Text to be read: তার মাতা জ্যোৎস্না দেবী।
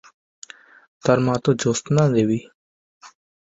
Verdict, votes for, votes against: rejected, 1, 2